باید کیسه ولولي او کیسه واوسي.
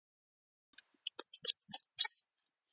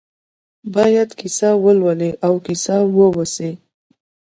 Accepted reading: second